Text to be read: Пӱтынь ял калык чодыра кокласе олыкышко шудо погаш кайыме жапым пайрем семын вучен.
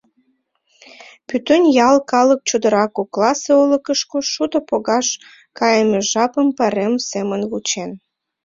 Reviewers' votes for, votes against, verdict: 2, 0, accepted